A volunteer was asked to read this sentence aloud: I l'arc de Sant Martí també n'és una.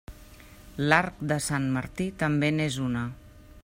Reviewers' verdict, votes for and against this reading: rejected, 0, 2